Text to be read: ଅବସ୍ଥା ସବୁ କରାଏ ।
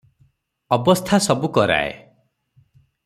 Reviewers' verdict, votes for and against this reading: accepted, 6, 0